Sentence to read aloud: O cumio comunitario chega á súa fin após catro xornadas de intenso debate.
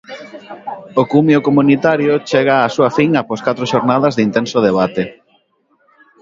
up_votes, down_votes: 2, 0